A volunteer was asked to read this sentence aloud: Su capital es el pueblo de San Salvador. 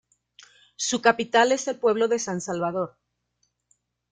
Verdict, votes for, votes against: accepted, 2, 0